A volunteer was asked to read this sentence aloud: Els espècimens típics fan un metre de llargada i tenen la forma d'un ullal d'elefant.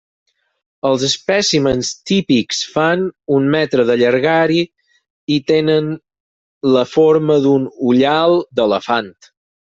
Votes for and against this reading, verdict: 0, 4, rejected